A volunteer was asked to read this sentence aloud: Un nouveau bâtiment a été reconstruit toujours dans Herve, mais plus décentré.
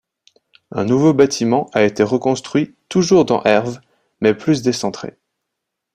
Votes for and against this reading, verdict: 2, 0, accepted